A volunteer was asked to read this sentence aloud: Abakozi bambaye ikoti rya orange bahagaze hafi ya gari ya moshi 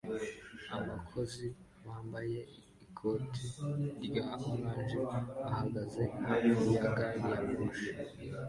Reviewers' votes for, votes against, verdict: 2, 0, accepted